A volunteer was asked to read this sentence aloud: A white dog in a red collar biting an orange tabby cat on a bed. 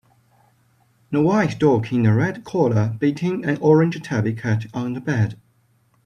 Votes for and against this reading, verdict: 1, 2, rejected